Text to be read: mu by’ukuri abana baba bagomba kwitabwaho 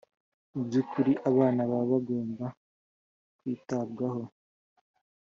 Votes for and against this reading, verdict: 2, 0, accepted